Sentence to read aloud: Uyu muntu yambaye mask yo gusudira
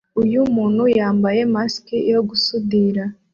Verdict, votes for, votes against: accepted, 2, 0